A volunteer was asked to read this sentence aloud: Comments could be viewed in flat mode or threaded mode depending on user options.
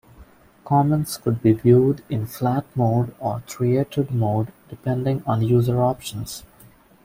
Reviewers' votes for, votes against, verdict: 1, 2, rejected